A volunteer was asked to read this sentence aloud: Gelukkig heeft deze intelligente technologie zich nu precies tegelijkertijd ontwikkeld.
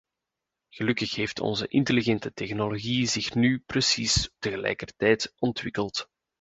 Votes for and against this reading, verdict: 0, 2, rejected